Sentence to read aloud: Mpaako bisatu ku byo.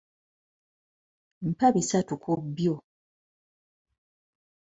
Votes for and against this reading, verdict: 0, 2, rejected